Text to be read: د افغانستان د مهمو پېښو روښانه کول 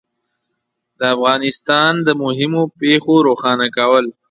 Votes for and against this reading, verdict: 2, 0, accepted